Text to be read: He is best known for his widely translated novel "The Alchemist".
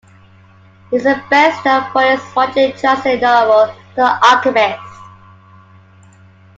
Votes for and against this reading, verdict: 2, 1, accepted